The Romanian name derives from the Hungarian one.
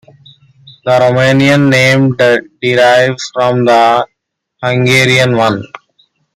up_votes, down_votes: 2, 0